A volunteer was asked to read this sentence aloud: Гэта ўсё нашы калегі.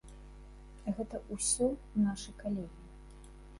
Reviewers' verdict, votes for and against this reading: rejected, 0, 2